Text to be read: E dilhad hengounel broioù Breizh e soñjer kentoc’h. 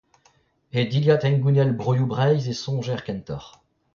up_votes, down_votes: 0, 2